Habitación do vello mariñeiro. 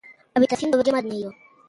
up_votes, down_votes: 0, 2